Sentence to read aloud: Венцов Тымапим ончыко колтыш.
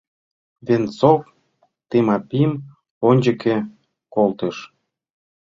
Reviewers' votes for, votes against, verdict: 1, 2, rejected